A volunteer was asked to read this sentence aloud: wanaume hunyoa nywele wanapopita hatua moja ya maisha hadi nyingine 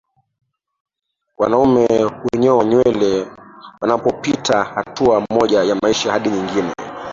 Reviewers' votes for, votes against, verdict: 2, 0, accepted